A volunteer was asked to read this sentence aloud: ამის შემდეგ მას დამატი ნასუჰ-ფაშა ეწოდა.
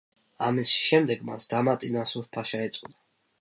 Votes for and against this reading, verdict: 2, 0, accepted